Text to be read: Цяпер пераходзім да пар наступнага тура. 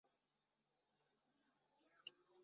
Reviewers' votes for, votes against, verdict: 0, 2, rejected